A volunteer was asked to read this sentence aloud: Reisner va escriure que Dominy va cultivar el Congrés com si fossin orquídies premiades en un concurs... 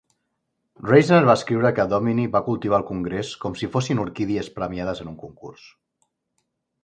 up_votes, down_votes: 2, 0